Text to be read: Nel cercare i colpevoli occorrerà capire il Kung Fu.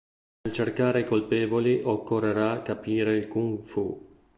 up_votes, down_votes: 1, 2